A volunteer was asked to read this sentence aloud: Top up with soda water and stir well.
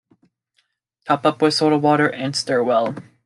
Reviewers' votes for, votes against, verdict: 2, 1, accepted